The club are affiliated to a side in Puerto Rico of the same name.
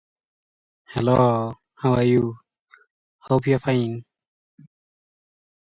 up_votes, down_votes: 0, 2